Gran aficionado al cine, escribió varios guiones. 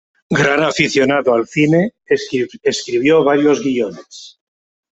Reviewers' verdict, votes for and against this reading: rejected, 1, 2